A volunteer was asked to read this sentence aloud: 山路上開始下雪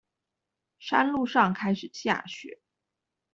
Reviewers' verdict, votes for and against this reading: accepted, 2, 0